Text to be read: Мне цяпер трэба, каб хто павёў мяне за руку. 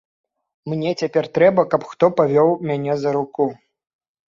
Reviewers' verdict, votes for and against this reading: accepted, 2, 0